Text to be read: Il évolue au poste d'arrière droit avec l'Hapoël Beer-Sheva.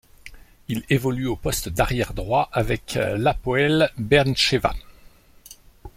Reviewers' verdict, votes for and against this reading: rejected, 0, 2